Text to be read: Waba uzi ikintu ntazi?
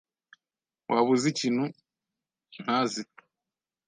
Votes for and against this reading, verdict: 2, 0, accepted